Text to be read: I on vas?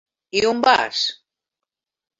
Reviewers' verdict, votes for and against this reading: accepted, 3, 1